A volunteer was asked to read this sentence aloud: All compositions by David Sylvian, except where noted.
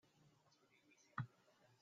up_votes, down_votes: 0, 2